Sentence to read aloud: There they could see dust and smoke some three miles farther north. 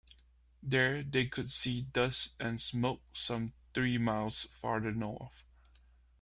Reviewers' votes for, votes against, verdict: 1, 2, rejected